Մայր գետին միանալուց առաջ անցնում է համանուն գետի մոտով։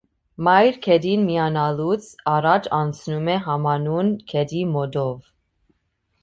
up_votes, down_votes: 2, 0